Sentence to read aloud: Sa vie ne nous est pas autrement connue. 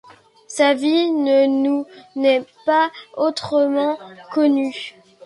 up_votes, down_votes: 1, 2